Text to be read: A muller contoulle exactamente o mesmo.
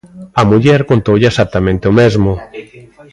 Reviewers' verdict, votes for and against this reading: rejected, 1, 2